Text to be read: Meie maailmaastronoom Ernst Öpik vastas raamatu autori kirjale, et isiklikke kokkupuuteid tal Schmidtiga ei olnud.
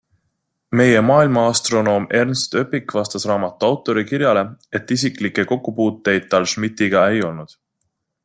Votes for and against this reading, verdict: 3, 0, accepted